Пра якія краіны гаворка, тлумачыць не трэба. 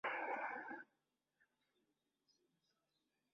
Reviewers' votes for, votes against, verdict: 0, 2, rejected